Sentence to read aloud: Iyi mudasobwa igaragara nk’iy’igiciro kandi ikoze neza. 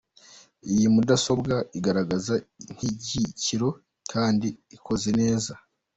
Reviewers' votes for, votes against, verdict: 0, 2, rejected